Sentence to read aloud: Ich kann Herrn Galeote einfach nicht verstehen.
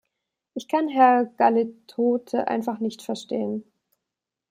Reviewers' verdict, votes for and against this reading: rejected, 0, 2